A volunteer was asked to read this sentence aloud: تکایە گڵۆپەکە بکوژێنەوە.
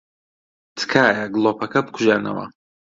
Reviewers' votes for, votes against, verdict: 2, 0, accepted